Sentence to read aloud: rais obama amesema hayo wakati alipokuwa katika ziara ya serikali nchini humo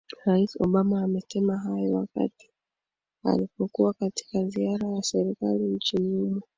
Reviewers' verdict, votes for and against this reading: rejected, 1, 2